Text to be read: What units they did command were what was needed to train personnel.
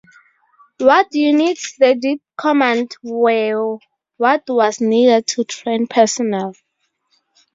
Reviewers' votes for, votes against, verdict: 0, 4, rejected